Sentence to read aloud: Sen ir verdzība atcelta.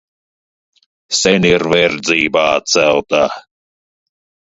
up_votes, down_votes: 0, 2